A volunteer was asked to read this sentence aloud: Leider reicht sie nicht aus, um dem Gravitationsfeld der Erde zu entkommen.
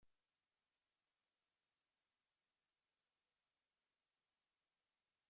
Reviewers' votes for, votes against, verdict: 0, 2, rejected